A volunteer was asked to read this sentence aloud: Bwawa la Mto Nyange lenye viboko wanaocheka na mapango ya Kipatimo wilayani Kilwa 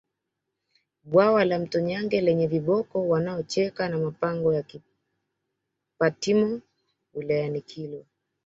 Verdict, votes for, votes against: accepted, 2, 0